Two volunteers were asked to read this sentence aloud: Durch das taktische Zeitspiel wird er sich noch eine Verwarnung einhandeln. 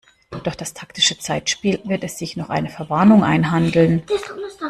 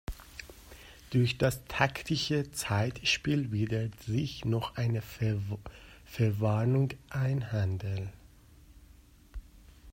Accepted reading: first